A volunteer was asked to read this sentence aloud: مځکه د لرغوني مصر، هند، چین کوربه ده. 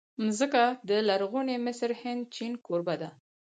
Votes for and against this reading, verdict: 4, 2, accepted